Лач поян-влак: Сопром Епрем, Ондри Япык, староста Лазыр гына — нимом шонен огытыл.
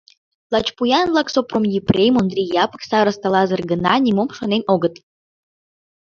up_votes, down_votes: 2, 0